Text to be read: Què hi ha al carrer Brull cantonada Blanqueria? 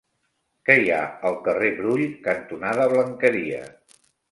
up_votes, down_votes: 3, 0